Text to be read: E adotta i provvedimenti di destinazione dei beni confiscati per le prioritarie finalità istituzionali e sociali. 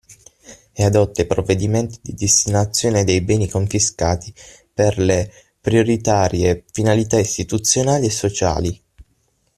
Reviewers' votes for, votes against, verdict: 6, 0, accepted